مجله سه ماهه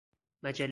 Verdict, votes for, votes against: rejected, 0, 4